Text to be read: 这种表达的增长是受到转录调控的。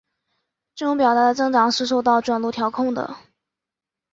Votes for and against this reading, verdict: 0, 2, rejected